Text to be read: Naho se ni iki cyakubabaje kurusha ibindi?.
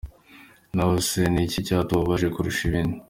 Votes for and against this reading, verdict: 2, 0, accepted